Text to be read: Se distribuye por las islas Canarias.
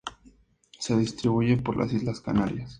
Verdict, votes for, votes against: accepted, 2, 0